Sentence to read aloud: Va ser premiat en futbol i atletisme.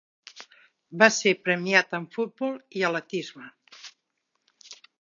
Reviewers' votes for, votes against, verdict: 1, 2, rejected